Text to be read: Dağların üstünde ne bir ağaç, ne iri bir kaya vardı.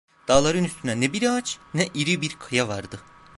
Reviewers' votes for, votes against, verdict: 2, 1, accepted